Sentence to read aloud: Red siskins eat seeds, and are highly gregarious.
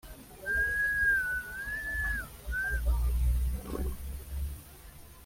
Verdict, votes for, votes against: rejected, 0, 2